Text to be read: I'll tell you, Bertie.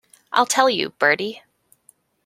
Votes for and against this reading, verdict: 2, 0, accepted